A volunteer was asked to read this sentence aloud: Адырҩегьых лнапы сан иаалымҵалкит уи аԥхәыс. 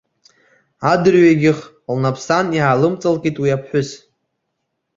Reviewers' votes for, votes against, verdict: 2, 0, accepted